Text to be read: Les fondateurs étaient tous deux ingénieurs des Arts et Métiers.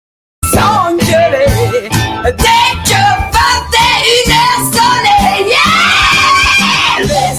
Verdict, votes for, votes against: rejected, 0, 2